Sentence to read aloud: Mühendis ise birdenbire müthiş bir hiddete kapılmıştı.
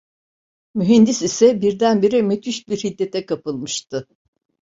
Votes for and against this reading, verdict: 2, 0, accepted